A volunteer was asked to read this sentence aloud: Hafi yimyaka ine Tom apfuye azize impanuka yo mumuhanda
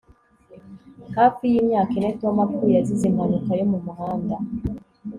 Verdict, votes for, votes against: rejected, 0, 2